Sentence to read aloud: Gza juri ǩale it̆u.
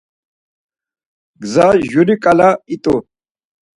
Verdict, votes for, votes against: accepted, 4, 0